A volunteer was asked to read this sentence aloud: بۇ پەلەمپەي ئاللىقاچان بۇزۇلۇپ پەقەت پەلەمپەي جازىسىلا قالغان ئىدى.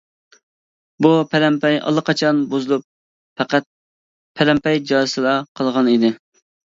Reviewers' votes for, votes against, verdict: 2, 0, accepted